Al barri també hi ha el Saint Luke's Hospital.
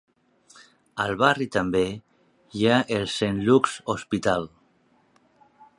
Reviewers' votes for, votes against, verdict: 2, 0, accepted